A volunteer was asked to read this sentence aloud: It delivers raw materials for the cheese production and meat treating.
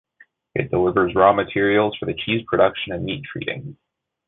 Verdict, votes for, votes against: accepted, 2, 1